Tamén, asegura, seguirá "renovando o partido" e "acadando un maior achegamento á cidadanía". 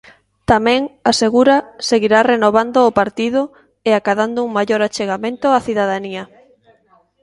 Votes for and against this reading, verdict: 2, 0, accepted